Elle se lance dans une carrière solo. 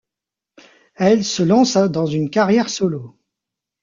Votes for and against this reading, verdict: 0, 2, rejected